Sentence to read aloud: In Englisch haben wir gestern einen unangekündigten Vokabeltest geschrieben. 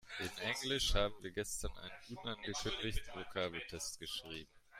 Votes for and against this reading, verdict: 1, 2, rejected